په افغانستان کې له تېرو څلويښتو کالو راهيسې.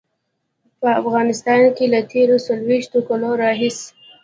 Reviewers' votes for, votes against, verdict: 1, 2, rejected